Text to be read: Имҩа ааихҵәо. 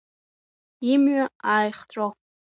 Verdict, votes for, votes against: accepted, 2, 0